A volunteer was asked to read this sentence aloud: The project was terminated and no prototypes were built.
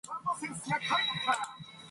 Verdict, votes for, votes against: rejected, 1, 2